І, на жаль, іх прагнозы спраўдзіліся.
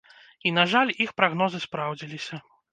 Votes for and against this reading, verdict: 2, 0, accepted